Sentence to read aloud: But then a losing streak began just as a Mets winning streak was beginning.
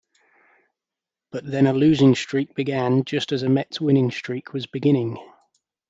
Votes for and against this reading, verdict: 2, 0, accepted